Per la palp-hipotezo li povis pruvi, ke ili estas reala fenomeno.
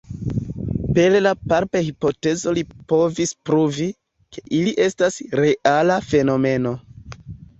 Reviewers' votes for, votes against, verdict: 2, 3, rejected